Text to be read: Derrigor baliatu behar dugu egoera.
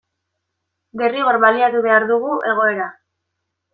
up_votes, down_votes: 2, 0